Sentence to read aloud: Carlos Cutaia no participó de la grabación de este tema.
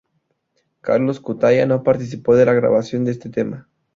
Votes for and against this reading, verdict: 2, 0, accepted